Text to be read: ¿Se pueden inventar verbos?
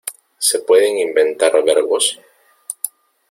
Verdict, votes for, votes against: accepted, 2, 1